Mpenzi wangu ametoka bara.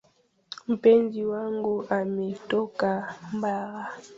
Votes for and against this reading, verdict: 1, 2, rejected